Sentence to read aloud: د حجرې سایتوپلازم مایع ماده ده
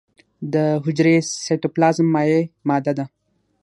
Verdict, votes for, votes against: accepted, 6, 0